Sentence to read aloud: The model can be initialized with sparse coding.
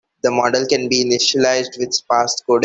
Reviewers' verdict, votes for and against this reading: rejected, 1, 2